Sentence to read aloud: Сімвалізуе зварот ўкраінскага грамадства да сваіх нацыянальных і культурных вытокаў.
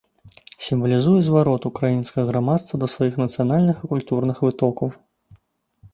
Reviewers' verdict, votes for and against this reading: rejected, 1, 2